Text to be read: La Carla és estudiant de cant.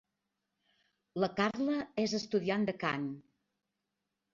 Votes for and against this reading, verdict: 1, 2, rejected